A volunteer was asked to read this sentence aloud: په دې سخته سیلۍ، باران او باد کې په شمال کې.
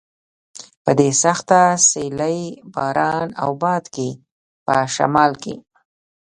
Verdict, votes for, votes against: rejected, 1, 2